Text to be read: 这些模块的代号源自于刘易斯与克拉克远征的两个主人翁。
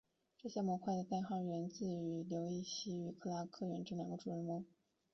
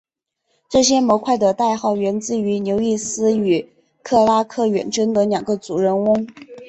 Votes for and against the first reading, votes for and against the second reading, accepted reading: 2, 3, 5, 0, second